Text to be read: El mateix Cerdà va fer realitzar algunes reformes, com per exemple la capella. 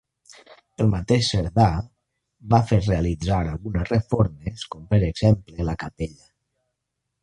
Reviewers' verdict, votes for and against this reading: rejected, 0, 2